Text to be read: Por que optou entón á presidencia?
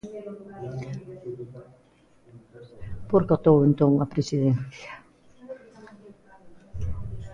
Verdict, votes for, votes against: rejected, 1, 2